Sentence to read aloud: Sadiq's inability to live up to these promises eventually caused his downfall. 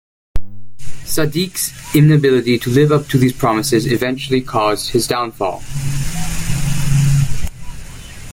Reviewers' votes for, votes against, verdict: 2, 0, accepted